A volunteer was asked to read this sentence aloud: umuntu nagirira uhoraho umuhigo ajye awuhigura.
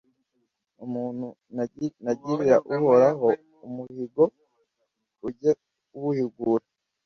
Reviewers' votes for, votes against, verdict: 1, 2, rejected